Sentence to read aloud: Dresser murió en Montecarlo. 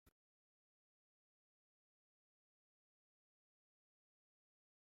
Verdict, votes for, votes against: rejected, 0, 2